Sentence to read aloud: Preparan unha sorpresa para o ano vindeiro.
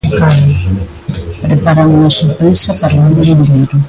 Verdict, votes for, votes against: rejected, 0, 2